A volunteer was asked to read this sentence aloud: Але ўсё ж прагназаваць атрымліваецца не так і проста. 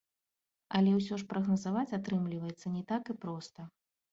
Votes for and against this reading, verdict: 2, 0, accepted